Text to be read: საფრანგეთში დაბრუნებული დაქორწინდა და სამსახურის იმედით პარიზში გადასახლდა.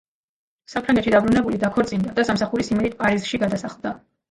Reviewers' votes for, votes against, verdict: 2, 0, accepted